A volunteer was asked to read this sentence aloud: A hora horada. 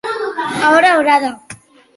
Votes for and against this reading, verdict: 2, 0, accepted